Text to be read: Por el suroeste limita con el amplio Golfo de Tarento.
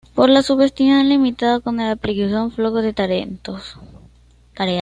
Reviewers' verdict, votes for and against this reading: rejected, 1, 2